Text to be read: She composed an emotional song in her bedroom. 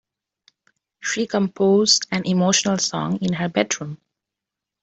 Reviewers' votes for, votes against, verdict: 2, 0, accepted